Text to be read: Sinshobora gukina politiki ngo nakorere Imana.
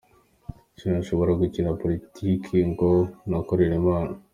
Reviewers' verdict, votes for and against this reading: accepted, 2, 0